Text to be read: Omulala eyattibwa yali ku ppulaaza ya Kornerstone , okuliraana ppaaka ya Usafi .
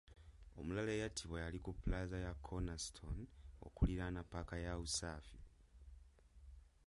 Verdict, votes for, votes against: rejected, 1, 2